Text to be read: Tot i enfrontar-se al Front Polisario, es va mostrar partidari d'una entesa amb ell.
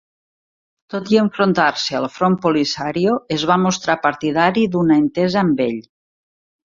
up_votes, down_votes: 2, 0